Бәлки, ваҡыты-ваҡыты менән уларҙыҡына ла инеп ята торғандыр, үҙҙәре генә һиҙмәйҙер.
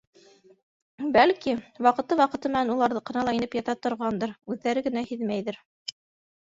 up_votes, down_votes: 2, 0